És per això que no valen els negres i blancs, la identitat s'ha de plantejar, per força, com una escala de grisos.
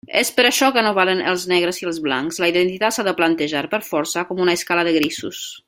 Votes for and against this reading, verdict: 1, 2, rejected